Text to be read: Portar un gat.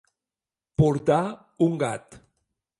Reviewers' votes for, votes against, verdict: 2, 0, accepted